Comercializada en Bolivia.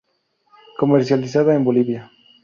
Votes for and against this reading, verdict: 2, 0, accepted